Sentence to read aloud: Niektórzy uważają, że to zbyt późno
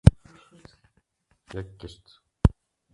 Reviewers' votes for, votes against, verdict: 0, 2, rejected